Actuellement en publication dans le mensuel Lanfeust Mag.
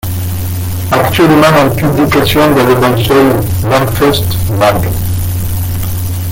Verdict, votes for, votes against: rejected, 0, 2